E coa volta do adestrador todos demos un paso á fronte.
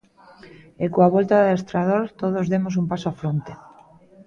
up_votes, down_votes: 2, 0